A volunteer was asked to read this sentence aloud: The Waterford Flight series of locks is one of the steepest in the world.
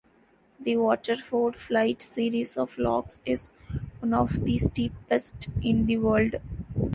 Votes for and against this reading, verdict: 2, 1, accepted